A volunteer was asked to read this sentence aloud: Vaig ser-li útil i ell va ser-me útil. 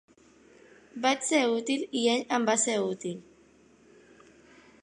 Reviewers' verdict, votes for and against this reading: rejected, 0, 2